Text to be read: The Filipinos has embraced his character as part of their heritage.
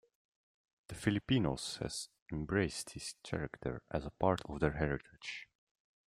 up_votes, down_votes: 0, 2